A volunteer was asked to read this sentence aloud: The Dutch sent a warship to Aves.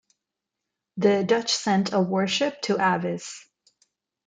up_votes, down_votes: 2, 0